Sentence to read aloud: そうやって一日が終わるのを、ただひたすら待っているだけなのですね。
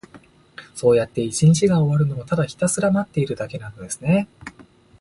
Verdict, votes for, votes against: accepted, 2, 0